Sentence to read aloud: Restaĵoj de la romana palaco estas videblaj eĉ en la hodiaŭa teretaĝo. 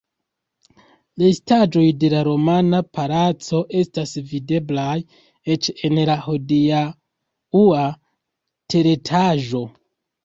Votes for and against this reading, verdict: 0, 2, rejected